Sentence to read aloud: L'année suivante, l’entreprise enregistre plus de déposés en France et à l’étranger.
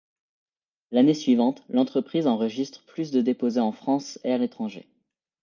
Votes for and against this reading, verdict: 2, 0, accepted